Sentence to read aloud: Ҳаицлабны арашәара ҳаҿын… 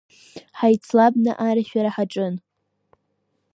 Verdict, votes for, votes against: accepted, 2, 1